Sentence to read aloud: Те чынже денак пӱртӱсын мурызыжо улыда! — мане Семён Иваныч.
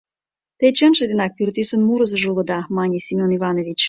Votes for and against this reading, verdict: 1, 3, rejected